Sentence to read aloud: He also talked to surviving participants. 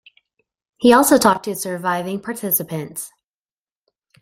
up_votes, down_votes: 2, 0